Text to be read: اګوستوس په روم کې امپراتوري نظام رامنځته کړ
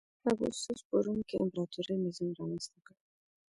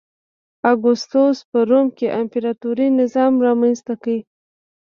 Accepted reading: second